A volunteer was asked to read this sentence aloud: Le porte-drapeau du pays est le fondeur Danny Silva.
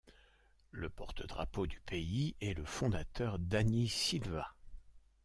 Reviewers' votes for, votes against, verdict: 0, 2, rejected